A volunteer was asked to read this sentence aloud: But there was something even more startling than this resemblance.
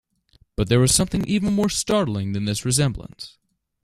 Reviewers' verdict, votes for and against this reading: accepted, 2, 0